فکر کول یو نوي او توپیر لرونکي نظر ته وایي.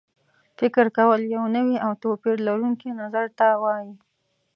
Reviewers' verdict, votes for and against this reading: accepted, 2, 0